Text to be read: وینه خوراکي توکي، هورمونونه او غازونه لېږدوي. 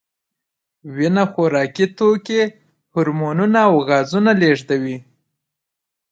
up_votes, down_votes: 2, 1